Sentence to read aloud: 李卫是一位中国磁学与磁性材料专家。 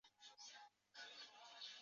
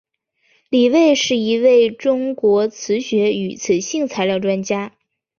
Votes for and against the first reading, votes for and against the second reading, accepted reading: 0, 2, 3, 0, second